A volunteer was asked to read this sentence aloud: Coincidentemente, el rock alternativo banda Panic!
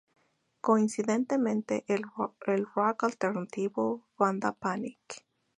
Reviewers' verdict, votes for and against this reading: rejected, 0, 4